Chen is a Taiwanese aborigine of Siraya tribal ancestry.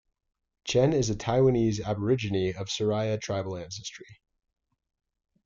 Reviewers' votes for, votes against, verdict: 2, 0, accepted